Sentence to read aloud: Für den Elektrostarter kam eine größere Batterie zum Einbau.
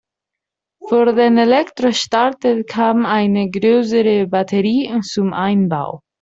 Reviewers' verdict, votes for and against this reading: rejected, 1, 2